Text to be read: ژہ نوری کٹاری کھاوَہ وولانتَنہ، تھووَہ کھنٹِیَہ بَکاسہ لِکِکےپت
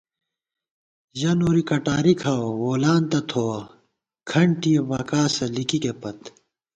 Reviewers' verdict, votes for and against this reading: accepted, 2, 0